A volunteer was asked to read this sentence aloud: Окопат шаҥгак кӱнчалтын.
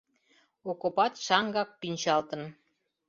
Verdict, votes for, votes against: accepted, 2, 0